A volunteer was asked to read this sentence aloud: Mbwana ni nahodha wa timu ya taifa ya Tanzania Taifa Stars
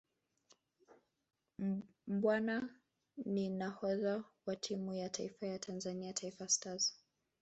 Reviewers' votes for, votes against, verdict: 0, 2, rejected